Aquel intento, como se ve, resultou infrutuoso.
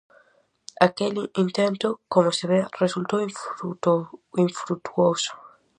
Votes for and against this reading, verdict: 0, 4, rejected